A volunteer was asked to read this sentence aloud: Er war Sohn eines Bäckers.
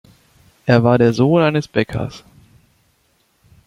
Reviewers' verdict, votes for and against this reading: rejected, 1, 2